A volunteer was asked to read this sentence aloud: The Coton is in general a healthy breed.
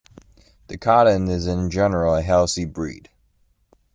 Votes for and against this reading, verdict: 1, 2, rejected